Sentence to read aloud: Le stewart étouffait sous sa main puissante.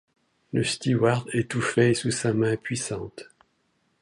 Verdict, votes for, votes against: accepted, 2, 0